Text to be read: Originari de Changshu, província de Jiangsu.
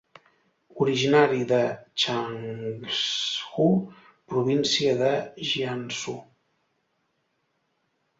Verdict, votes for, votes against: rejected, 0, 2